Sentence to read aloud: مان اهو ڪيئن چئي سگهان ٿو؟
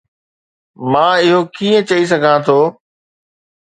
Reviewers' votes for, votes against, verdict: 2, 0, accepted